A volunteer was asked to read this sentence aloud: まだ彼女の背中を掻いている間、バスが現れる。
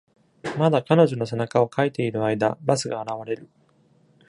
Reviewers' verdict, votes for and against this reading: accepted, 2, 0